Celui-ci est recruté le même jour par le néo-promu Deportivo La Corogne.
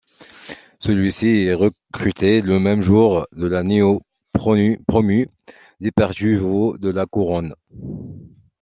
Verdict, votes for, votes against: rejected, 0, 2